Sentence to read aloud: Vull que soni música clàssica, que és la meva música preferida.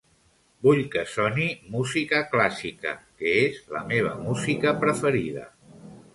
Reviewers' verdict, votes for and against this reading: accepted, 2, 0